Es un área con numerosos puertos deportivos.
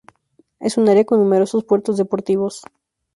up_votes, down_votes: 2, 2